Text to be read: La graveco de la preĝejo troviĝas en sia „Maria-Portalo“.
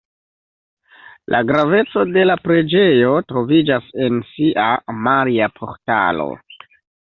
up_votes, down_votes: 1, 2